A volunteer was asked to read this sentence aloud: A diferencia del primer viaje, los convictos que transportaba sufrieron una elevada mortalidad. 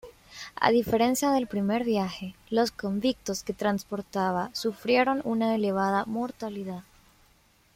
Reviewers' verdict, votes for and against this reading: accepted, 2, 0